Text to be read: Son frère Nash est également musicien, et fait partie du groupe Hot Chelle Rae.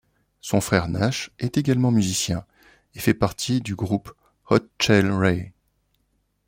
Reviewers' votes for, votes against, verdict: 2, 1, accepted